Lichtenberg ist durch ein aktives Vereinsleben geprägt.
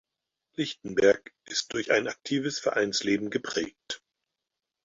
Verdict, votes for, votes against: accepted, 4, 0